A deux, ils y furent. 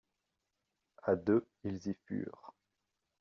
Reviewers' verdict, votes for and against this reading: accepted, 2, 0